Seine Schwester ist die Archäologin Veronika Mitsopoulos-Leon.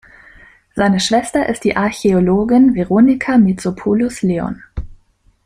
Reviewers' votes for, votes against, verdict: 2, 0, accepted